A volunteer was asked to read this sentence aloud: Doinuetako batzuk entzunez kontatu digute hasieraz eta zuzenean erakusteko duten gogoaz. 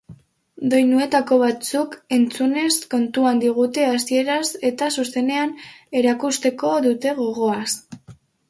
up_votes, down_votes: 0, 2